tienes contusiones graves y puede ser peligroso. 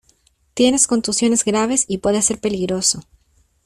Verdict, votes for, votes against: accepted, 2, 0